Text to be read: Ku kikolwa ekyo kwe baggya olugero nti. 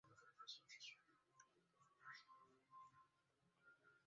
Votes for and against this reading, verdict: 0, 2, rejected